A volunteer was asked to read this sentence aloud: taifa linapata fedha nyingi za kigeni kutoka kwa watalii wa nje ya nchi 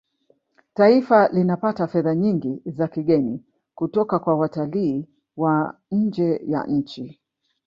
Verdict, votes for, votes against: rejected, 1, 2